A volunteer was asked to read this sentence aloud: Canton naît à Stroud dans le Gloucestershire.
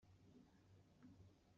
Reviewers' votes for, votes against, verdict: 0, 2, rejected